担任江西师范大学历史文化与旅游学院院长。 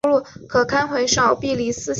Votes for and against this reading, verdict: 1, 4, rejected